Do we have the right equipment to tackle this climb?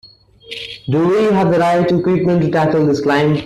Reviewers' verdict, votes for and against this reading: accepted, 2, 0